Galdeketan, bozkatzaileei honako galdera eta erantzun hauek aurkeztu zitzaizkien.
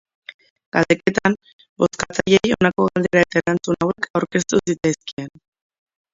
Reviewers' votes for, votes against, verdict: 0, 2, rejected